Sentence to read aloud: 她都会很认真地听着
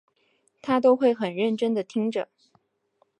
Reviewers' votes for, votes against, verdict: 3, 0, accepted